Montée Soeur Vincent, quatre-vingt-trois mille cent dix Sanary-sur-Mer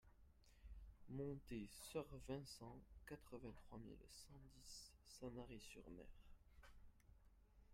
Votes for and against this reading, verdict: 0, 2, rejected